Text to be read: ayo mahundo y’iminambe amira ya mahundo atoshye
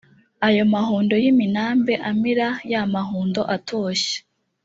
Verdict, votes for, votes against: accepted, 2, 0